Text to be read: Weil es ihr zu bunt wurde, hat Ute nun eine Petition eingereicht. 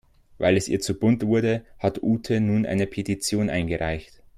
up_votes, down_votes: 2, 0